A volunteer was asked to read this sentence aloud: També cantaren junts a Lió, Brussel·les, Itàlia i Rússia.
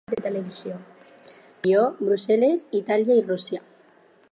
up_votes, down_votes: 0, 4